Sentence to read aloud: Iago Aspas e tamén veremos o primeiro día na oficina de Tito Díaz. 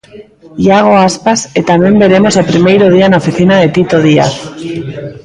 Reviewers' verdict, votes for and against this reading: rejected, 0, 2